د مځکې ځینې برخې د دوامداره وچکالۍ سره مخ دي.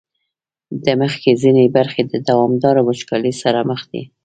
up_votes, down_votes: 1, 2